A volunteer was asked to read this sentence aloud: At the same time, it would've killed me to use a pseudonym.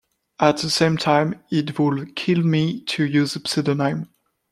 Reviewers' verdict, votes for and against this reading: rejected, 1, 2